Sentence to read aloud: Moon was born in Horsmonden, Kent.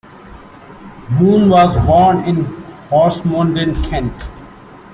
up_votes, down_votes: 2, 0